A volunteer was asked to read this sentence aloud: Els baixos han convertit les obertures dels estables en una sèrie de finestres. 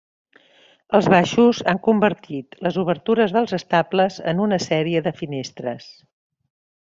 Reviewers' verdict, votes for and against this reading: accepted, 3, 0